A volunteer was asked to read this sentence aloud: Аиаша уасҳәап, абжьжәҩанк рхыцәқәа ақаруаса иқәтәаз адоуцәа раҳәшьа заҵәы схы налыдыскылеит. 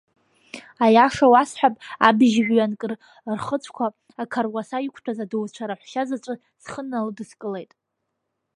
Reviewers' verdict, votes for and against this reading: rejected, 1, 2